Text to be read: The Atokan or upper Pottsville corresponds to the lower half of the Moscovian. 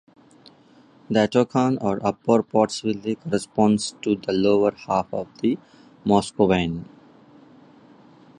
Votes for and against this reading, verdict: 0, 2, rejected